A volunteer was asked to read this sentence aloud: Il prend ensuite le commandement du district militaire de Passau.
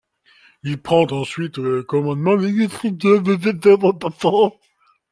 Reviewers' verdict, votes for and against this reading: rejected, 0, 2